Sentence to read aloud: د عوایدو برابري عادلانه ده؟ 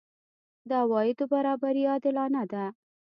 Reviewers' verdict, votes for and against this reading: accepted, 2, 0